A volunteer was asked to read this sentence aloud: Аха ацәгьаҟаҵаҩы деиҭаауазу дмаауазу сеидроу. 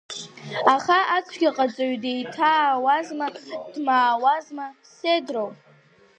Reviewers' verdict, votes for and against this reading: rejected, 0, 2